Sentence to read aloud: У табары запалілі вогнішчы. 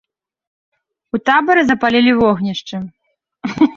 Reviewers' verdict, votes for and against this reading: rejected, 1, 2